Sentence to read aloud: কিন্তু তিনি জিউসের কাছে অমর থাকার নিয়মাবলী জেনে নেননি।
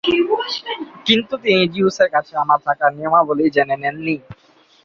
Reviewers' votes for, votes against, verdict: 0, 2, rejected